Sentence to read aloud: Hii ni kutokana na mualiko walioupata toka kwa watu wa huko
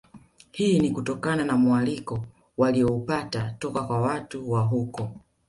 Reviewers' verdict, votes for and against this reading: accepted, 2, 0